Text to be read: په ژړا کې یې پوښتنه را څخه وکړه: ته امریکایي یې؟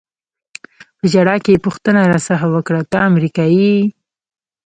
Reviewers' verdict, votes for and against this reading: rejected, 0, 2